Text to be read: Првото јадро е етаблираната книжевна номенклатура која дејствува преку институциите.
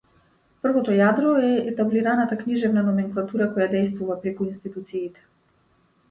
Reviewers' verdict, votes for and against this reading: accepted, 2, 0